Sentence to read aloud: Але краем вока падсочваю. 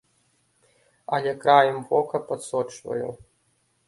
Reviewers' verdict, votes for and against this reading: rejected, 1, 2